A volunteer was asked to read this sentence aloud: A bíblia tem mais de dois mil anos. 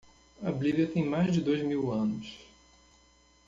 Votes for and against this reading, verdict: 1, 2, rejected